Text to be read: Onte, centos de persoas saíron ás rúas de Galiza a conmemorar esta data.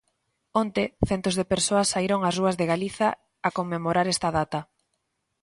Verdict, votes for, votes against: accepted, 2, 0